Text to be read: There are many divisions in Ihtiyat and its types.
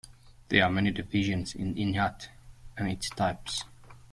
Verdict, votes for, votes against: rejected, 0, 2